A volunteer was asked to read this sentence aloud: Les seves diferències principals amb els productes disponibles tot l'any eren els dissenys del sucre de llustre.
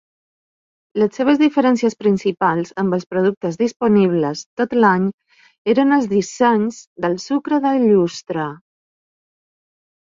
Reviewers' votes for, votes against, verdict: 2, 0, accepted